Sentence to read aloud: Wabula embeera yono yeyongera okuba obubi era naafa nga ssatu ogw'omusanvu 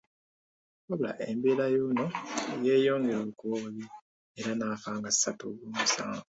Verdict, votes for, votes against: accepted, 2, 0